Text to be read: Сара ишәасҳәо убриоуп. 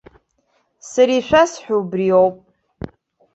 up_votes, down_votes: 2, 0